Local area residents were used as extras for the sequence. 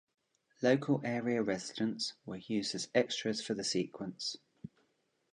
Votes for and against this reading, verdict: 2, 0, accepted